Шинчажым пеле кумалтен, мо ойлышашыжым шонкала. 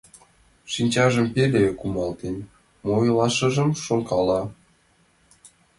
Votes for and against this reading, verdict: 0, 2, rejected